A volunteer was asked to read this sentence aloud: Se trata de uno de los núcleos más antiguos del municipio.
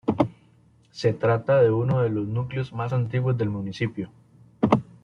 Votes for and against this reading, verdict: 2, 0, accepted